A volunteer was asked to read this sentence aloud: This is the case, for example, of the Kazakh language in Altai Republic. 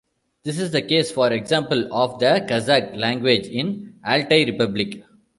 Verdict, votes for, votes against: accepted, 2, 0